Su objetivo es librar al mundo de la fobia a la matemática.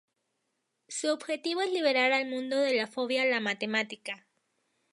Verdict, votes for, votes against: rejected, 0, 2